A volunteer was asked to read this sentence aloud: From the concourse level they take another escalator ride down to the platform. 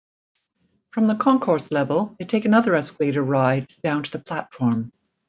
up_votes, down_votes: 1, 2